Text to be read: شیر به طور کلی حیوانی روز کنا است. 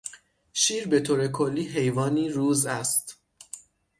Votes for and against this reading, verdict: 0, 6, rejected